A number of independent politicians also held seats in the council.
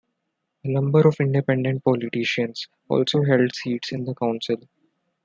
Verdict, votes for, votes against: accepted, 2, 0